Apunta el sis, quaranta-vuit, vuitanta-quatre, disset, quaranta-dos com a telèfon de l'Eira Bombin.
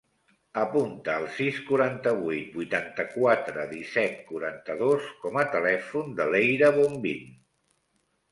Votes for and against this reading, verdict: 2, 0, accepted